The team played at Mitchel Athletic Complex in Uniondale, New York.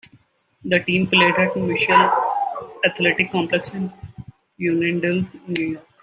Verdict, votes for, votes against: rejected, 0, 2